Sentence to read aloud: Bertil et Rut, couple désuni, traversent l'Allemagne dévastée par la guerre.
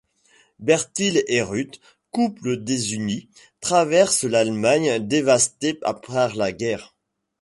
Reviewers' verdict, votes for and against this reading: rejected, 0, 2